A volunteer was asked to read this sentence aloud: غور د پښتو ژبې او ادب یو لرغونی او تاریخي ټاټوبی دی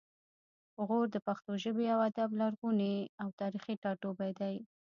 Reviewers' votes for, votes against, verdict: 1, 2, rejected